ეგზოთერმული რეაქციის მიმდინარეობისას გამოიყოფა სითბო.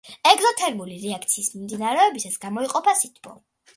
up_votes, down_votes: 2, 0